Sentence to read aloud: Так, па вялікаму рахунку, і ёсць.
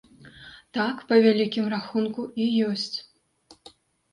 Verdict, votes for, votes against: rejected, 0, 2